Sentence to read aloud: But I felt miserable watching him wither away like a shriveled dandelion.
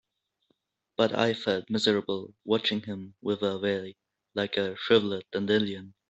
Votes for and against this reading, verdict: 1, 2, rejected